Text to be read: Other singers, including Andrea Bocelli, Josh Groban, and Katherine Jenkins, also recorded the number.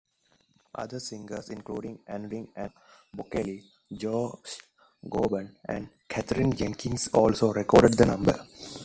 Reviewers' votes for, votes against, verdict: 1, 2, rejected